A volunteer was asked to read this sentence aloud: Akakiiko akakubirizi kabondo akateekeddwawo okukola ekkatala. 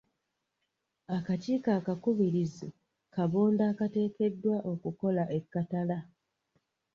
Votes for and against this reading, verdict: 1, 2, rejected